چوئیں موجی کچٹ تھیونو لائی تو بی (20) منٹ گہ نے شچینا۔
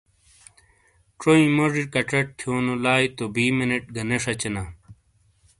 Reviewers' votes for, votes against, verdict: 0, 2, rejected